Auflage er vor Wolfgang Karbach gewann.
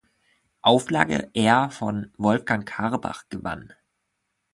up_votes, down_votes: 0, 2